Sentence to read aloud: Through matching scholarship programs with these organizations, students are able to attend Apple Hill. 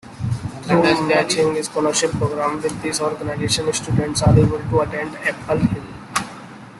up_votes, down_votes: 0, 2